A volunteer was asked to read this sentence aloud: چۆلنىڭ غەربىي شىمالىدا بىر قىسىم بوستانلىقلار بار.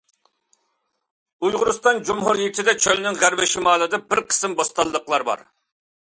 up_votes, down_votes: 0, 2